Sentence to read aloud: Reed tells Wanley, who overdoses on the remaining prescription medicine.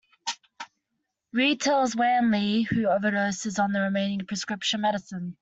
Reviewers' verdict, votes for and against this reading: accepted, 2, 0